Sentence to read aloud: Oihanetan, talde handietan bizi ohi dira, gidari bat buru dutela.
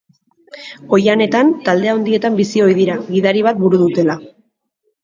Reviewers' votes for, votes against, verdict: 2, 0, accepted